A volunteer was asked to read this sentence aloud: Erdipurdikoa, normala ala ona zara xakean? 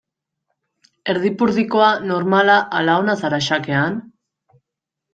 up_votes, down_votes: 2, 0